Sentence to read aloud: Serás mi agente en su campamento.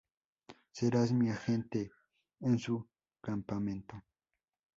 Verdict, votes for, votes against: accepted, 2, 0